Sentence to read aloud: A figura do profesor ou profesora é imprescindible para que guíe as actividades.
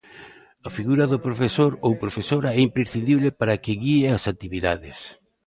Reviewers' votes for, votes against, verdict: 2, 0, accepted